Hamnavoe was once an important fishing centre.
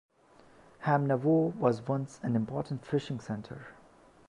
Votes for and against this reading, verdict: 2, 0, accepted